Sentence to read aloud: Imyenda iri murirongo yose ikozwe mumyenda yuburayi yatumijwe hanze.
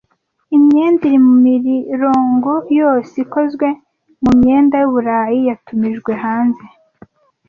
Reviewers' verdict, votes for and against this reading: rejected, 1, 2